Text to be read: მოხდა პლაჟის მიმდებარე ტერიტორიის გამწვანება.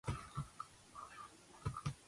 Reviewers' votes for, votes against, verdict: 0, 2, rejected